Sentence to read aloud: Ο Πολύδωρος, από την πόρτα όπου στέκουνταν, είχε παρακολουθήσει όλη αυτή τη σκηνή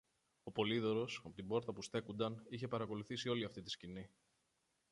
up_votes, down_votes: 2, 0